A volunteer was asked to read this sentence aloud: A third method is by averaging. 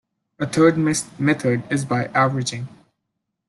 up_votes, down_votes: 0, 2